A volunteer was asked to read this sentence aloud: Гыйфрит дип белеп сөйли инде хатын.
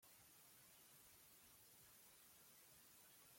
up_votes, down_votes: 0, 2